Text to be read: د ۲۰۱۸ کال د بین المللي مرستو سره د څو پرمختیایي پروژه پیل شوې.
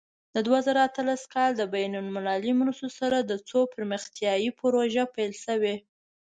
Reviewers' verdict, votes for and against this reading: rejected, 0, 2